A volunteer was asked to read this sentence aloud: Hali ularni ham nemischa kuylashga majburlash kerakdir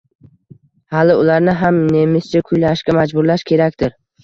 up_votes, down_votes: 2, 0